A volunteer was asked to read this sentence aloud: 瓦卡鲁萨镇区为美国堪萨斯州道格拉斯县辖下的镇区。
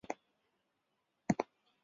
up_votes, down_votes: 0, 4